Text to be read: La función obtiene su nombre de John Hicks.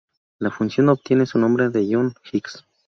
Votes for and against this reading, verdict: 2, 2, rejected